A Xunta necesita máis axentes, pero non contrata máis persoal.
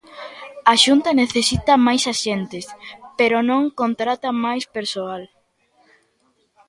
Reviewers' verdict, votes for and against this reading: accepted, 2, 0